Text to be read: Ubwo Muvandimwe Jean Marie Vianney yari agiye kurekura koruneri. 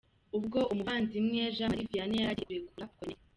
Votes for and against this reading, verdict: 0, 2, rejected